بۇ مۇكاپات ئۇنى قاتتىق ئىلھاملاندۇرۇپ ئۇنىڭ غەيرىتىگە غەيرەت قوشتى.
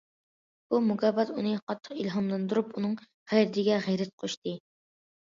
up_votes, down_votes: 2, 0